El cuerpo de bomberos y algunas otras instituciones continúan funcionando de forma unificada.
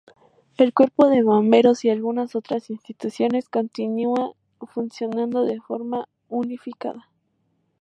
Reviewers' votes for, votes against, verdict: 0, 2, rejected